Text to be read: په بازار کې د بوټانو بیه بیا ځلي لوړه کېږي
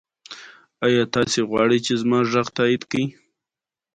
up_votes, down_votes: 1, 2